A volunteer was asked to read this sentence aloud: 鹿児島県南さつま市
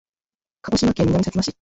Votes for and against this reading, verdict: 0, 2, rejected